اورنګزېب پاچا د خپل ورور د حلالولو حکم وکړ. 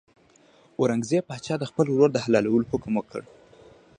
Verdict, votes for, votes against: accepted, 2, 0